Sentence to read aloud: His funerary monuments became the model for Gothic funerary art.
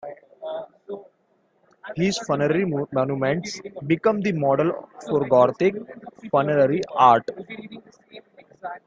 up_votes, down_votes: 0, 2